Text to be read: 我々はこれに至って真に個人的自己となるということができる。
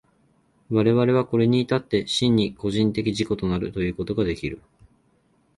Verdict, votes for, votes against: accepted, 2, 0